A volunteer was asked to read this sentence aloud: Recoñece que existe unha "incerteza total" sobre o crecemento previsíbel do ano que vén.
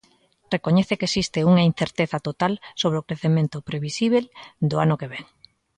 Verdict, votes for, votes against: accepted, 2, 0